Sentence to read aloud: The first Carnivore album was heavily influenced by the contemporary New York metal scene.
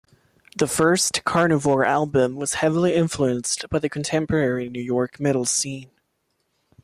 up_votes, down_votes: 2, 0